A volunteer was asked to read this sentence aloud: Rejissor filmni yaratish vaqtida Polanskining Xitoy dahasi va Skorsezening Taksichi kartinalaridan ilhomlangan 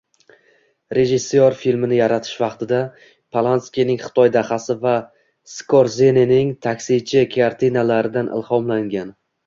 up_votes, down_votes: 1, 2